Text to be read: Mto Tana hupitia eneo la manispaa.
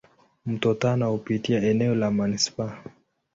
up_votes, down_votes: 2, 0